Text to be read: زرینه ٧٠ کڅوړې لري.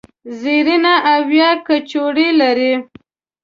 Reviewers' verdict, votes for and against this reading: rejected, 0, 2